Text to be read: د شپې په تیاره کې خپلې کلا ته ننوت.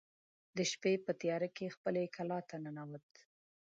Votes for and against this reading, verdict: 2, 0, accepted